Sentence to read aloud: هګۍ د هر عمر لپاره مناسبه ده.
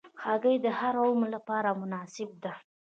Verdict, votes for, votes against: accepted, 2, 0